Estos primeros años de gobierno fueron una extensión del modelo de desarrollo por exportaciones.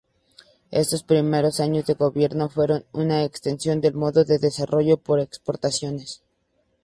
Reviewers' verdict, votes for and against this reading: accepted, 2, 0